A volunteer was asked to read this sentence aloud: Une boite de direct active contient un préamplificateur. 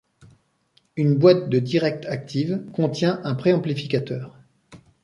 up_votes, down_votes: 2, 0